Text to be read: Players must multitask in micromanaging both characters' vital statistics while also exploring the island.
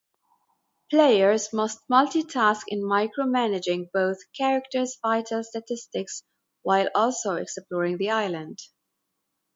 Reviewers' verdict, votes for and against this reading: accepted, 2, 0